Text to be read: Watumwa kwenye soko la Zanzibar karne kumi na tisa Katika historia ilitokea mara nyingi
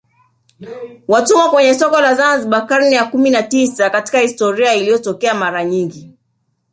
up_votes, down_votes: 1, 2